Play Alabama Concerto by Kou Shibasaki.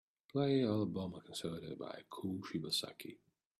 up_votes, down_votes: 2, 0